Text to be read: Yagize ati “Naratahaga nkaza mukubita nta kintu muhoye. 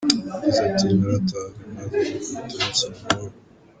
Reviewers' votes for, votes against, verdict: 1, 2, rejected